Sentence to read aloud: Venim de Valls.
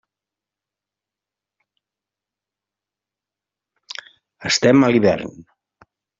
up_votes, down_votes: 0, 2